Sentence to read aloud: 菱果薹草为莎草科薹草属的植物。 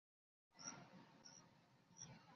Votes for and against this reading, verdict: 1, 2, rejected